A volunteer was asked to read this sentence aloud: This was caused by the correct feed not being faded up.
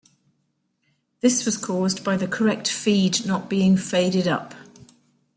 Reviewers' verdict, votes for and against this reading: accepted, 2, 0